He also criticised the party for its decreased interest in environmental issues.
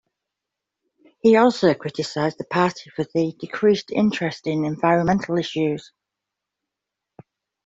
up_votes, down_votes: 2, 0